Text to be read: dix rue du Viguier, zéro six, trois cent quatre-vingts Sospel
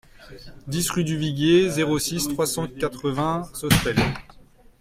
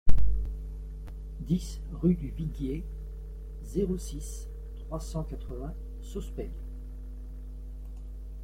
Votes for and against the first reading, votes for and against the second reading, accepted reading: 1, 2, 2, 0, second